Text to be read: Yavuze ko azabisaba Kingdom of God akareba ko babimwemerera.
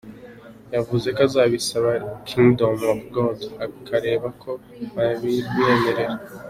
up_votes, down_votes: 3, 0